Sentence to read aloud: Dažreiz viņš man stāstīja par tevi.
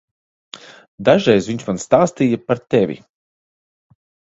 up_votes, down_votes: 2, 0